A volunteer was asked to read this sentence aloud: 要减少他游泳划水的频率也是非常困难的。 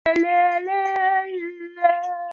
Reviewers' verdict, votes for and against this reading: rejected, 3, 4